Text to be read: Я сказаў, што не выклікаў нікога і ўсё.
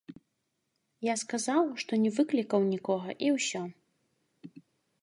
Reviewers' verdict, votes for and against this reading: rejected, 0, 2